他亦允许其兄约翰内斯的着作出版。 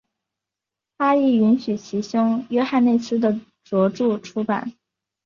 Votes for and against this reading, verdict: 0, 2, rejected